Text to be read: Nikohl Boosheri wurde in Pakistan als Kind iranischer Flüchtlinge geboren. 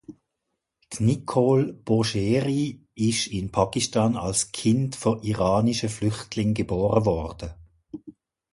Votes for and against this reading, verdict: 1, 2, rejected